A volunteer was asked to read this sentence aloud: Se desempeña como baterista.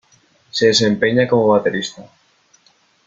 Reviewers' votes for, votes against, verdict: 2, 0, accepted